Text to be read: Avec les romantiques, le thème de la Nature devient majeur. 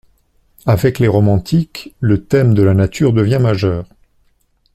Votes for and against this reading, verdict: 2, 0, accepted